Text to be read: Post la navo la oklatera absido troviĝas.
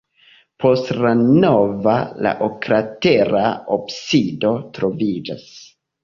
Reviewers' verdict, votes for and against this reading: accepted, 2, 1